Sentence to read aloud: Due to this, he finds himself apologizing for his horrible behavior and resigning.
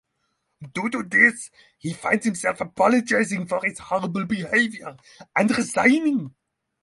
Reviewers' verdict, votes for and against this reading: accepted, 6, 0